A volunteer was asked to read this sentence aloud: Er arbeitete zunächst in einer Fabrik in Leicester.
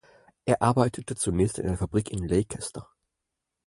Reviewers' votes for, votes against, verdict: 4, 0, accepted